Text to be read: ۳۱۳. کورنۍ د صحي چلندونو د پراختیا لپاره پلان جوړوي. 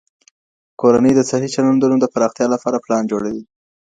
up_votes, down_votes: 0, 2